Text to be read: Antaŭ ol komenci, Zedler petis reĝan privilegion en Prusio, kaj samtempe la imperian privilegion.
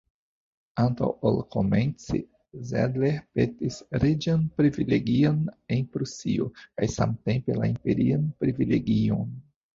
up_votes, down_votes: 2, 0